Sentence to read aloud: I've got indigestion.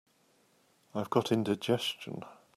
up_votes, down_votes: 2, 0